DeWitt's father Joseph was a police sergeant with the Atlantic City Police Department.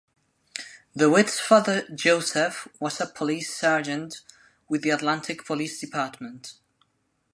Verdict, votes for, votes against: rejected, 1, 2